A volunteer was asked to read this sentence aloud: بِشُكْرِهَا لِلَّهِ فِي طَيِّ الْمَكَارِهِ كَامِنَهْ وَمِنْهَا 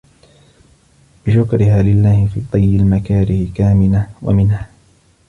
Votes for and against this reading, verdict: 2, 0, accepted